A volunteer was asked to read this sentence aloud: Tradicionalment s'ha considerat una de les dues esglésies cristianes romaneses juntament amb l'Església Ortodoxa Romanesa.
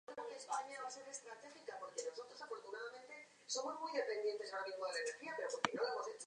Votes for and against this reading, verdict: 0, 3, rejected